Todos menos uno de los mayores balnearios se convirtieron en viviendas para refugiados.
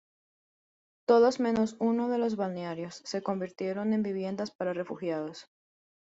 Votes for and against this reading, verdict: 0, 2, rejected